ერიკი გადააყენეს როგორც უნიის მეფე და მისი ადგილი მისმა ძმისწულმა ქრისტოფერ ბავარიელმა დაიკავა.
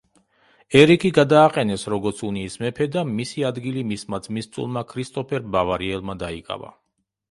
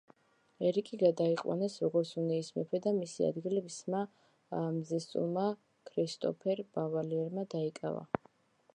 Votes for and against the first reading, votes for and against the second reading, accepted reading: 2, 0, 0, 2, first